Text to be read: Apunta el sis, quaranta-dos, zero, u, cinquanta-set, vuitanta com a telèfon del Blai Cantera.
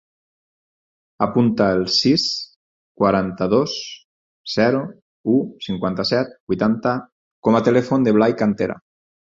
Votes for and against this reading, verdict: 2, 4, rejected